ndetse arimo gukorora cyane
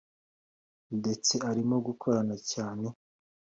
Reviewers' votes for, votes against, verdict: 2, 0, accepted